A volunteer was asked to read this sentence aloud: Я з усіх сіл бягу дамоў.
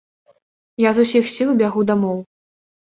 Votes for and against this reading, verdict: 2, 0, accepted